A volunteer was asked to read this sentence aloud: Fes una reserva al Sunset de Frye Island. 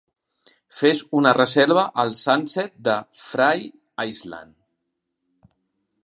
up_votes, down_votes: 2, 0